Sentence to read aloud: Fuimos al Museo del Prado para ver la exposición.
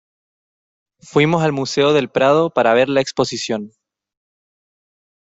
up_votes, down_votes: 2, 0